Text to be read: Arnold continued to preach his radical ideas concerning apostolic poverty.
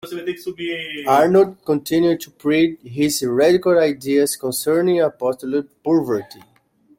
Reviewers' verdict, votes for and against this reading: rejected, 1, 2